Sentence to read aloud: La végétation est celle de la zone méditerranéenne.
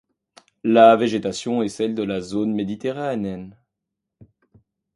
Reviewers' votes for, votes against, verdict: 1, 2, rejected